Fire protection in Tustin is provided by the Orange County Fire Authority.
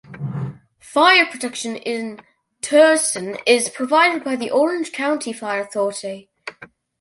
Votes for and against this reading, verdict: 2, 0, accepted